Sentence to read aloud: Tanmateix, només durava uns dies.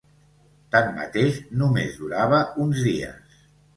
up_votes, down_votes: 2, 0